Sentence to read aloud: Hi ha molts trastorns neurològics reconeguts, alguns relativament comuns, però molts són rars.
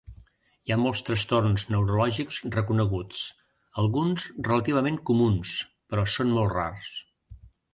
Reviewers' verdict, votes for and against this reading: rejected, 0, 2